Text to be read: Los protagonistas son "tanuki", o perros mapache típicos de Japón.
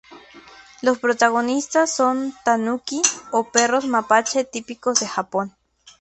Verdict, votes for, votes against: accepted, 2, 0